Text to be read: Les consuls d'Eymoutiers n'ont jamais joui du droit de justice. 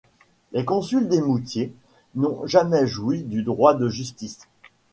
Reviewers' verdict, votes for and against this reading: accepted, 2, 1